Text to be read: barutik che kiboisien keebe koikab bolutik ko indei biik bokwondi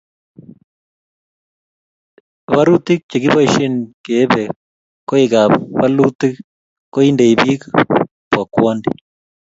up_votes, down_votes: 2, 0